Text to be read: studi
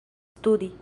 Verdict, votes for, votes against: rejected, 0, 2